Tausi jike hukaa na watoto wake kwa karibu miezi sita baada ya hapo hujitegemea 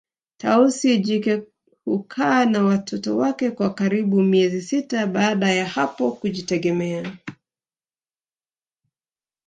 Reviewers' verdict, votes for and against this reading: accepted, 4, 2